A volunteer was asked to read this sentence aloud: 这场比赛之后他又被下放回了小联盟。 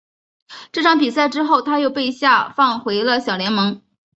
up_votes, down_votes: 3, 0